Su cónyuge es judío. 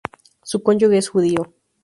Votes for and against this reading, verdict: 2, 2, rejected